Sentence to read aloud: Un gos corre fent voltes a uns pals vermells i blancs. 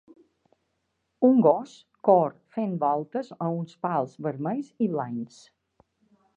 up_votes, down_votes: 1, 2